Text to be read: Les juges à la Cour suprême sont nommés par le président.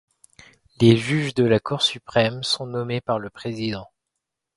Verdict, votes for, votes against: rejected, 2, 3